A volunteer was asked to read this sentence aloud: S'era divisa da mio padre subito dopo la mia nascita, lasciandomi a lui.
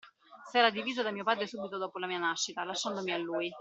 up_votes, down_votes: 2, 0